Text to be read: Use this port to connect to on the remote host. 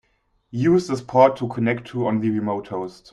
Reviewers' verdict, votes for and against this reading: accepted, 2, 0